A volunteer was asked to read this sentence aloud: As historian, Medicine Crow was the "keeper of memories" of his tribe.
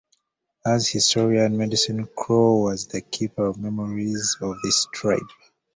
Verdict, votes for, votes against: accepted, 2, 1